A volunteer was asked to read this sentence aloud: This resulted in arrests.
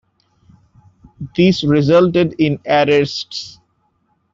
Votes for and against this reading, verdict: 1, 2, rejected